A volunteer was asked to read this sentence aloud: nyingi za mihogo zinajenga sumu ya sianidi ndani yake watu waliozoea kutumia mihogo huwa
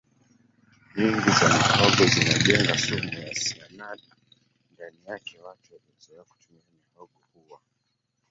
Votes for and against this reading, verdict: 1, 3, rejected